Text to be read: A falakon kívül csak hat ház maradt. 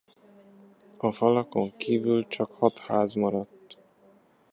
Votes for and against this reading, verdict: 2, 0, accepted